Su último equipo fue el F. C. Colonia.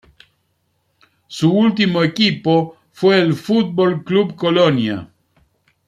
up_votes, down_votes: 1, 2